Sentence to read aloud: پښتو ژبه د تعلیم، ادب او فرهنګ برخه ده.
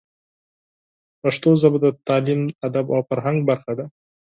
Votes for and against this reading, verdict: 4, 0, accepted